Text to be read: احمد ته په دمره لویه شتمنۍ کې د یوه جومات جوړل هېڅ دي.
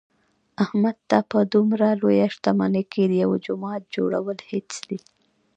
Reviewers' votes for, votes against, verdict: 1, 2, rejected